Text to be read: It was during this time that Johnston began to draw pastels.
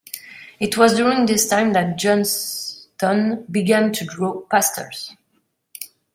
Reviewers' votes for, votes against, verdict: 0, 2, rejected